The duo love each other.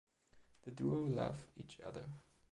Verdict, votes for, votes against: rejected, 1, 2